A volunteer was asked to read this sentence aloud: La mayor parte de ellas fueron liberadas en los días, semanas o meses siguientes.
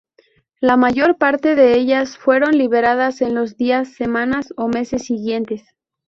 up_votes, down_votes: 2, 0